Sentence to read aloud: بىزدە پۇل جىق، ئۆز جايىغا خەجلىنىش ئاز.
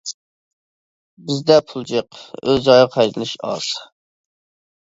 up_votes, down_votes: 1, 2